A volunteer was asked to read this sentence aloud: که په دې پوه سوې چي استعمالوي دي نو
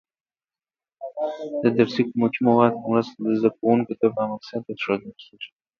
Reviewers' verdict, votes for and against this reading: rejected, 0, 2